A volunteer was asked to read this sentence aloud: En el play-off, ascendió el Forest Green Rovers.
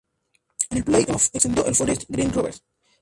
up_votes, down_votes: 0, 2